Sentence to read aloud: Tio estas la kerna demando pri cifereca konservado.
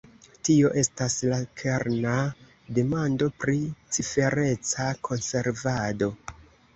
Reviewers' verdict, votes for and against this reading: accepted, 2, 0